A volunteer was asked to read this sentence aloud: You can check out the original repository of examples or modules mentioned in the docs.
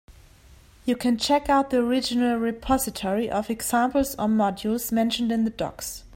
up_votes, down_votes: 3, 0